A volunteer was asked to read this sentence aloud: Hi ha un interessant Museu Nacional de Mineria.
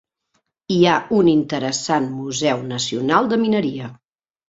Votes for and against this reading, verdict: 3, 0, accepted